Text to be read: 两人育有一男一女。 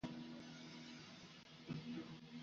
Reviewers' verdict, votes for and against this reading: rejected, 0, 4